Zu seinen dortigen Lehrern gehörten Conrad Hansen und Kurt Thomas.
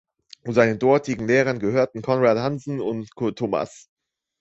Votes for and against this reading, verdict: 1, 2, rejected